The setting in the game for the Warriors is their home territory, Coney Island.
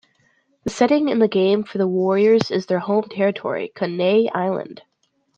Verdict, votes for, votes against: rejected, 1, 2